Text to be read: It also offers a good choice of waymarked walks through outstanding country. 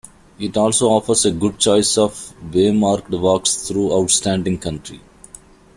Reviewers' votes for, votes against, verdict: 2, 0, accepted